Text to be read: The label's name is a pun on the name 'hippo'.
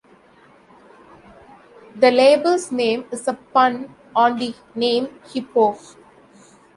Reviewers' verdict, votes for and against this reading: accepted, 2, 0